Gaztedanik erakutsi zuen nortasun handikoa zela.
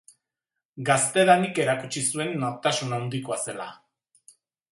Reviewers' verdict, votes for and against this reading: rejected, 1, 2